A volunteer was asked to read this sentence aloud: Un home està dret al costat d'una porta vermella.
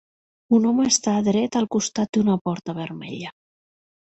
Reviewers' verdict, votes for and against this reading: accepted, 2, 0